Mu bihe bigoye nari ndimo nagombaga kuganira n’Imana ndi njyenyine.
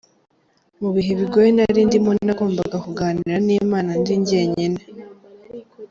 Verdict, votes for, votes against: accepted, 2, 0